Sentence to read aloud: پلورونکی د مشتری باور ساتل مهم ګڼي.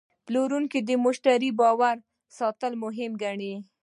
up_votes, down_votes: 2, 0